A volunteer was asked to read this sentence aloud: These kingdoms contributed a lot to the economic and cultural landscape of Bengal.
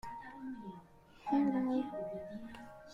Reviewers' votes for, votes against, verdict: 0, 2, rejected